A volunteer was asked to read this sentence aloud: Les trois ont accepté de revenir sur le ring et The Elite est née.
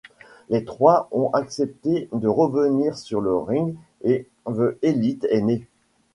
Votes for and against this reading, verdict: 2, 1, accepted